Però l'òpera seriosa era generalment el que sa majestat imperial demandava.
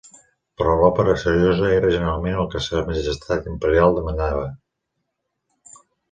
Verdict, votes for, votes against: accepted, 2, 1